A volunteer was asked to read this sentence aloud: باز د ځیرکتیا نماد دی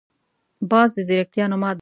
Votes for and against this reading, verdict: 1, 2, rejected